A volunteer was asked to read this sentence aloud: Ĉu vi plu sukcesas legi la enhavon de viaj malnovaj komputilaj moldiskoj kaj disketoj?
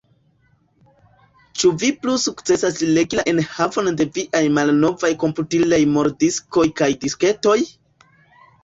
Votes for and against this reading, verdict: 0, 2, rejected